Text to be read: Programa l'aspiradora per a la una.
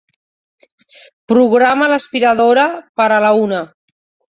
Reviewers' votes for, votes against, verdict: 3, 1, accepted